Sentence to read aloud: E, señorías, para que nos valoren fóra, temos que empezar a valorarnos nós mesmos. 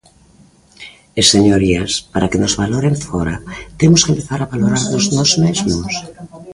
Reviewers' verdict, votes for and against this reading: rejected, 0, 2